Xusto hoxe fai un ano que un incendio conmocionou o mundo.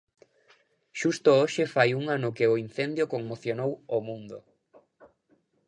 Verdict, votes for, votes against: rejected, 0, 2